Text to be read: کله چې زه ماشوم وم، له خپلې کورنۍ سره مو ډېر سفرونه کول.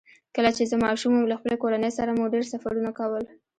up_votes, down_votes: 1, 2